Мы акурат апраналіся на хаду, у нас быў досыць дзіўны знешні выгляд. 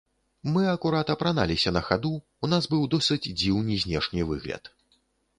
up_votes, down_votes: 0, 2